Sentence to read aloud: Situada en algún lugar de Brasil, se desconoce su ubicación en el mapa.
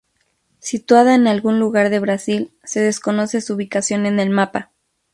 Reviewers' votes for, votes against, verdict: 2, 0, accepted